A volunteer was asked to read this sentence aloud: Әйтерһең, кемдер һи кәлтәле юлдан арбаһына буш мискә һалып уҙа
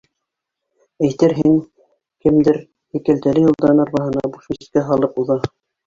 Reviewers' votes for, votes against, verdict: 1, 2, rejected